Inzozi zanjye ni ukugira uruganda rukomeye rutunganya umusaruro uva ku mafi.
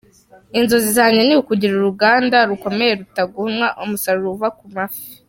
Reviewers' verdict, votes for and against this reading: rejected, 0, 2